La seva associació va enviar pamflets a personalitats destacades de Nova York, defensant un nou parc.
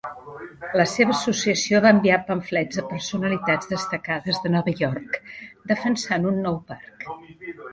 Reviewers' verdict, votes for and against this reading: rejected, 1, 2